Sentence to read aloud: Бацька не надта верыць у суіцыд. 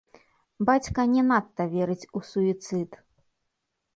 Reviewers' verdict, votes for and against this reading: rejected, 1, 2